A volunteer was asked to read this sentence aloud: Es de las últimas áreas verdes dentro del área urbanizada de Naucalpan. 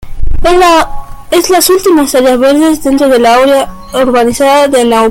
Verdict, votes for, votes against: rejected, 0, 2